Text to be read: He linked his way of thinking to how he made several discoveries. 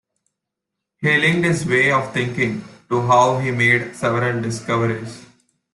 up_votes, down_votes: 2, 0